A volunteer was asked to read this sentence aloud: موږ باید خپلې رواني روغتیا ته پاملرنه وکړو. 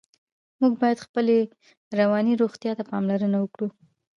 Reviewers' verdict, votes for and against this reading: rejected, 0, 2